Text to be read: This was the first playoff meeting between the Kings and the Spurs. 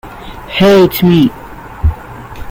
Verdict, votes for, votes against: rejected, 0, 2